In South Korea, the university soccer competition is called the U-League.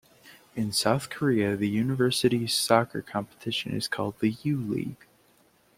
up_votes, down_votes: 2, 0